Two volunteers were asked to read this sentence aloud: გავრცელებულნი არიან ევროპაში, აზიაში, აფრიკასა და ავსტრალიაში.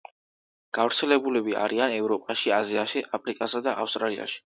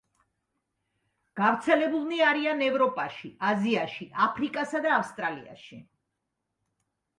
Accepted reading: second